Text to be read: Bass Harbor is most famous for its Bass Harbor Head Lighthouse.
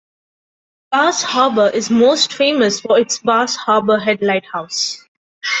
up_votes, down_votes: 2, 0